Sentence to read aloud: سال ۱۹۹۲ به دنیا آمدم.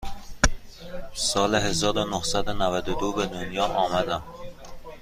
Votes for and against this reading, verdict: 0, 2, rejected